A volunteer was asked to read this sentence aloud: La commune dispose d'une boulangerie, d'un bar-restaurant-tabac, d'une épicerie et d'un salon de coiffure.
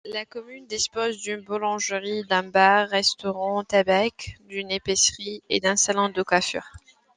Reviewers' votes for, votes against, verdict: 1, 2, rejected